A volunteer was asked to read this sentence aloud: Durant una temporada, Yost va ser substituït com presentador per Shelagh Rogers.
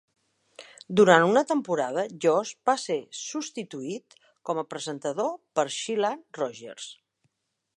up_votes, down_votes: 1, 2